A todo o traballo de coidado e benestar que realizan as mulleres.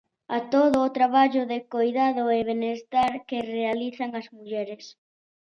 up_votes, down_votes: 2, 0